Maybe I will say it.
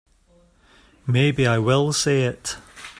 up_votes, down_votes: 3, 0